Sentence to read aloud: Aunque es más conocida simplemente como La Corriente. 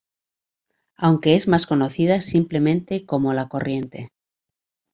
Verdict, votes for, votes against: accepted, 2, 0